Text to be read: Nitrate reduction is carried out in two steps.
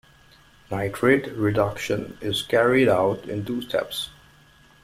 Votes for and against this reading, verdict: 2, 0, accepted